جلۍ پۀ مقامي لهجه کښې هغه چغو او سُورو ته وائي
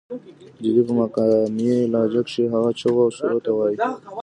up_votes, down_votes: 2, 0